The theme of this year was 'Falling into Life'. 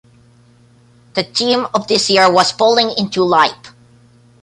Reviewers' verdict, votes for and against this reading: rejected, 1, 2